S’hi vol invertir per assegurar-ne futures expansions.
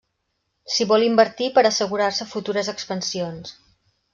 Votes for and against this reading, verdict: 1, 2, rejected